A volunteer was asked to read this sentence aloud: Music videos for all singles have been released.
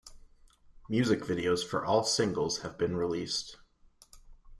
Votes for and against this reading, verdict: 2, 0, accepted